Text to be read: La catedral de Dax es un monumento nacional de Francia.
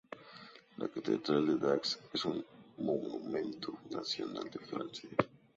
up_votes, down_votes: 2, 0